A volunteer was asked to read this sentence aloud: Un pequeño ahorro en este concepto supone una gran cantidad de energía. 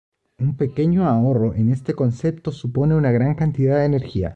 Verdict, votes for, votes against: accepted, 2, 0